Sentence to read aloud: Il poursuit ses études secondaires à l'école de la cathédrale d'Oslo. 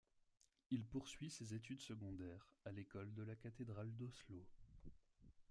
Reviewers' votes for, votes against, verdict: 0, 2, rejected